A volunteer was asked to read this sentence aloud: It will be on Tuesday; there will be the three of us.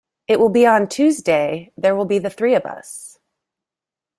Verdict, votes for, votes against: accepted, 2, 0